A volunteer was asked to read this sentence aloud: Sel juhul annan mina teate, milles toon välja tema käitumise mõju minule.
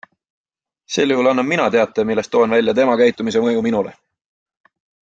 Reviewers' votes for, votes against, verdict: 3, 0, accepted